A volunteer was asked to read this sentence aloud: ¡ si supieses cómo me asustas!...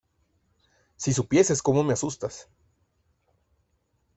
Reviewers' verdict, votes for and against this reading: rejected, 1, 2